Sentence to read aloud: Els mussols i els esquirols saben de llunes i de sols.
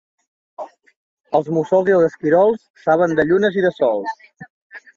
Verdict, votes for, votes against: accepted, 2, 0